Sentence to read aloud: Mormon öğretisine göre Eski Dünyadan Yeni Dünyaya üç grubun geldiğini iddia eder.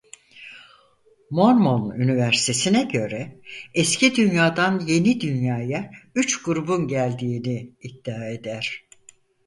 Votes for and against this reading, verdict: 0, 4, rejected